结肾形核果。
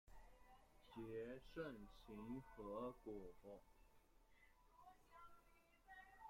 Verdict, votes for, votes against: rejected, 1, 2